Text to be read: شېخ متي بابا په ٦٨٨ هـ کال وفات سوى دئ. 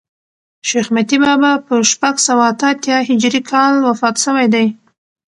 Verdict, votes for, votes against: rejected, 0, 2